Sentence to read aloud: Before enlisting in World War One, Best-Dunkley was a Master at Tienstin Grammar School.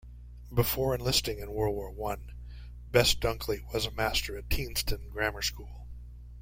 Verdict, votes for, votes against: accepted, 2, 0